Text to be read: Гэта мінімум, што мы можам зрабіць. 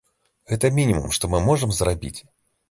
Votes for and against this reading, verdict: 2, 0, accepted